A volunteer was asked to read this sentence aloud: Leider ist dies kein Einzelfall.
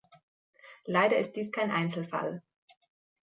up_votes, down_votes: 3, 0